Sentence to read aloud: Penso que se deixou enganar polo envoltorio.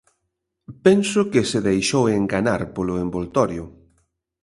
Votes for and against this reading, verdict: 2, 0, accepted